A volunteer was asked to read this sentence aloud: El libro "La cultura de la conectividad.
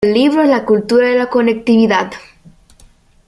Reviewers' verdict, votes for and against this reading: rejected, 0, 2